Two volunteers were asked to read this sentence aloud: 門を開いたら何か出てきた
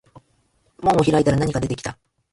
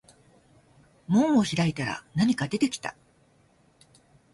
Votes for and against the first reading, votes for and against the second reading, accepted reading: 1, 2, 2, 0, second